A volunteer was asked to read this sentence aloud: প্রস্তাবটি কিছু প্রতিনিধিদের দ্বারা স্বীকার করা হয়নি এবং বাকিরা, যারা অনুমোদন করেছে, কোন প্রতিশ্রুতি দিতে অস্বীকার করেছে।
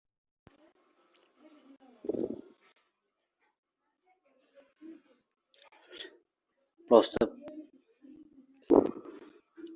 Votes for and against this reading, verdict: 0, 2, rejected